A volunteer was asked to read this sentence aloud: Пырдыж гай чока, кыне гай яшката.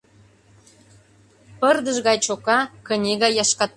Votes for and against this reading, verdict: 0, 2, rejected